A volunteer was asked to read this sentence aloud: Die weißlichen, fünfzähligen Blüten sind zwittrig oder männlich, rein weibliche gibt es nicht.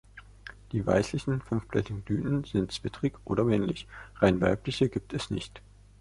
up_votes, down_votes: 0, 2